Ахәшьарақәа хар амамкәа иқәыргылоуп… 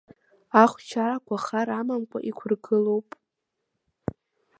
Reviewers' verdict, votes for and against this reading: accepted, 2, 1